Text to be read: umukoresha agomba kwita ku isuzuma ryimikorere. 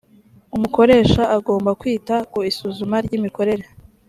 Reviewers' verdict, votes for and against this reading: accepted, 3, 0